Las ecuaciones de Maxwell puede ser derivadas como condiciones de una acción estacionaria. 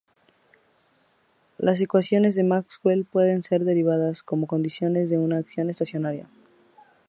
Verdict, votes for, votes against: rejected, 0, 2